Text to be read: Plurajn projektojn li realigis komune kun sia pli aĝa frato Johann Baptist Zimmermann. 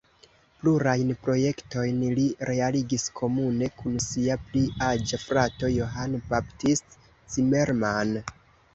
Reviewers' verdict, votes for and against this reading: rejected, 1, 2